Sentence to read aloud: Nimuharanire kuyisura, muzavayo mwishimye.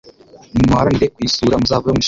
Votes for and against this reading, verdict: 0, 2, rejected